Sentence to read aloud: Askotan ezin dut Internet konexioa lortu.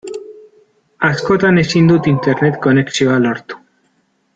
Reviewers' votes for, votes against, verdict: 1, 2, rejected